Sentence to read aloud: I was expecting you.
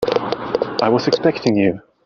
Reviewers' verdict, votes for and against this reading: accepted, 2, 0